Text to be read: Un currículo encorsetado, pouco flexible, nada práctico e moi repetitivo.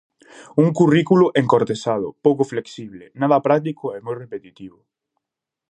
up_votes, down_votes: 0, 2